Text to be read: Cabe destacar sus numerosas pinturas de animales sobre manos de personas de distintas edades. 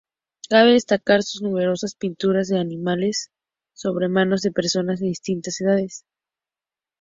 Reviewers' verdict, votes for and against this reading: accepted, 2, 0